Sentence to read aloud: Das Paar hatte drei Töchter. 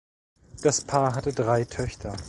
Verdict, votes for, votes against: accepted, 2, 0